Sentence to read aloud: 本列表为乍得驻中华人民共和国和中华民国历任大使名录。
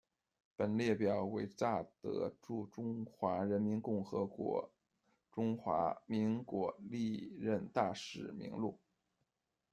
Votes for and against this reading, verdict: 2, 0, accepted